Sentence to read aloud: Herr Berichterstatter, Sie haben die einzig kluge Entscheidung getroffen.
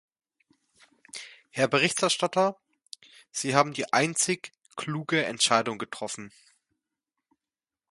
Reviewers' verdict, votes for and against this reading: accepted, 2, 0